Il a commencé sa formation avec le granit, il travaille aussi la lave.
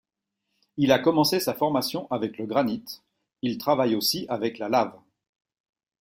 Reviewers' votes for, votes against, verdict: 0, 2, rejected